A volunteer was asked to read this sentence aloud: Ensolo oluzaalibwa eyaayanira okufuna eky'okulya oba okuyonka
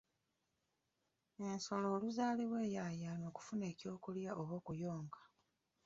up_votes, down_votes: 1, 2